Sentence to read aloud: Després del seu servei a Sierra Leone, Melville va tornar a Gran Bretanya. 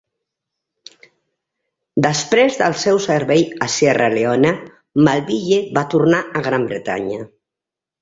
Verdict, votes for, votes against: accepted, 2, 0